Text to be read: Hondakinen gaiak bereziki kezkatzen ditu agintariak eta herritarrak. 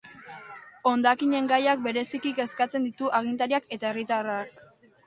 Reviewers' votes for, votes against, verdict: 3, 0, accepted